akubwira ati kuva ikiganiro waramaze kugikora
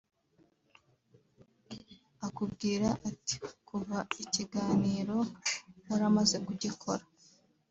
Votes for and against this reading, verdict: 2, 0, accepted